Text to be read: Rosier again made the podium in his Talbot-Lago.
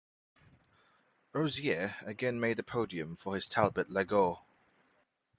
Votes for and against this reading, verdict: 0, 2, rejected